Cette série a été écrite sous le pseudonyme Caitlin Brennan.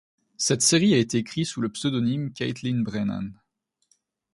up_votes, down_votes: 1, 2